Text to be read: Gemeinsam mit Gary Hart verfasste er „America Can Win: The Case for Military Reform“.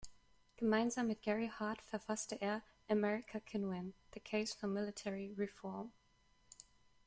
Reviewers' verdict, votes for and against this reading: rejected, 0, 2